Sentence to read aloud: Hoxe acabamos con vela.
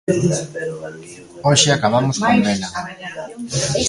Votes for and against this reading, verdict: 1, 2, rejected